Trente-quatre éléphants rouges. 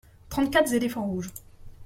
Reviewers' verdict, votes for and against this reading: rejected, 1, 2